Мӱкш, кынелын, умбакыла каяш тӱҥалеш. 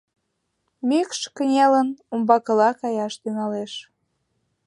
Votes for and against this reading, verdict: 2, 0, accepted